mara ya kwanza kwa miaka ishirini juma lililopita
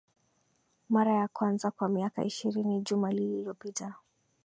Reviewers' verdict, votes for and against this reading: rejected, 0, 2